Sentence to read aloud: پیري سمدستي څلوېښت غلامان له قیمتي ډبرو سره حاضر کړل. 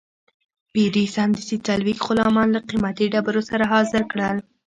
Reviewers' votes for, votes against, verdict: 0, 2, rejected